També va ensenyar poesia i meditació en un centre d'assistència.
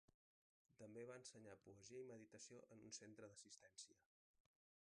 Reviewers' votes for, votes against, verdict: 1, 2, rejected